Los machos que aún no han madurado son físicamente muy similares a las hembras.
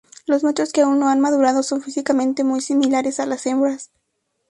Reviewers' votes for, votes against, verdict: 2, 0, accepted